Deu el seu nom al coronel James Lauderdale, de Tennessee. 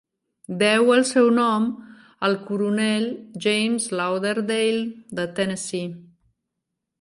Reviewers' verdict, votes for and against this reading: accepted, 4, 0